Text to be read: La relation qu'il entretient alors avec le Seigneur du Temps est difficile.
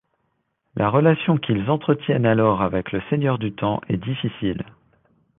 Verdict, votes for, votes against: rejected, 1, 2